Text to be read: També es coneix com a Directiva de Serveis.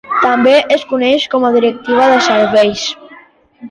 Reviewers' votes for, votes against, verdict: 2, 1, accepted